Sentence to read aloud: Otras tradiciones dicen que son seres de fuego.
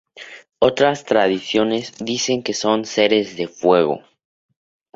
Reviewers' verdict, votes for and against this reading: accepted, 4, 0